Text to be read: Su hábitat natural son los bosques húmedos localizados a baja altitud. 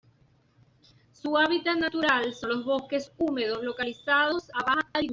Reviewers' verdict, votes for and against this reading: rejected, 1, 2